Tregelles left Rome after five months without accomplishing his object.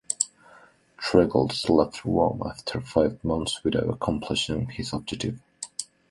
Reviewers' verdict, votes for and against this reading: rejected, 0, 2